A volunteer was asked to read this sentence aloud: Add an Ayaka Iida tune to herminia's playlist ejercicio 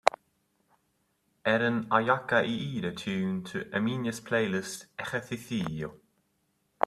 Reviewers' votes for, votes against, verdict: 3, 0, accepted